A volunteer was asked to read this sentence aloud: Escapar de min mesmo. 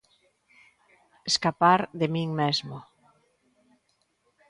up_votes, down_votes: 3, 0